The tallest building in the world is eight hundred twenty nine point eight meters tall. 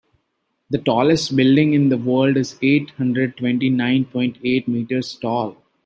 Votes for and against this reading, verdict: 0, 2, rejected